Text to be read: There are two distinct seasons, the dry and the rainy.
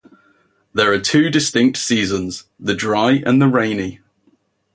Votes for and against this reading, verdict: 2, 0, accepted